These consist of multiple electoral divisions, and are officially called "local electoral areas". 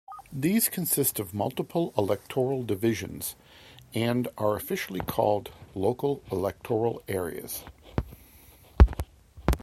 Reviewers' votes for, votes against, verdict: 2, 1, accepted